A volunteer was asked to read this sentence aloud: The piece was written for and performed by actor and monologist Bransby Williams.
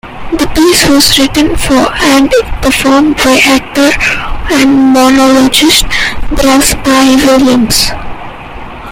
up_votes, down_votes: 1, 3